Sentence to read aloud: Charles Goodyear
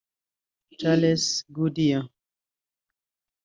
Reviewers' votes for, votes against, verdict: 1, 2, rejected